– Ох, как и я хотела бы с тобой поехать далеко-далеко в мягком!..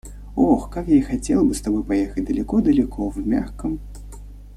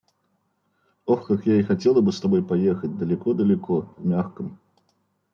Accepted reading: first